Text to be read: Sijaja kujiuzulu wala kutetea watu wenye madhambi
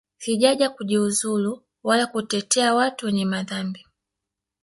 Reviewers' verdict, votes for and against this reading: accepted, 2, 1